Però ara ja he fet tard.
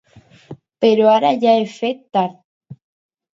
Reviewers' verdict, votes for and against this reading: accepted, 2, 0